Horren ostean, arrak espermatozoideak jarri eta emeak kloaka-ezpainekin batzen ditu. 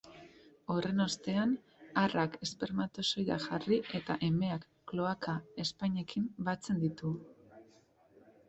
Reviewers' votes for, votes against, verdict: 1, 2, rejected